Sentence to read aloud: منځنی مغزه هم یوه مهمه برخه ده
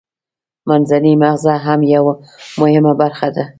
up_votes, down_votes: 2, 0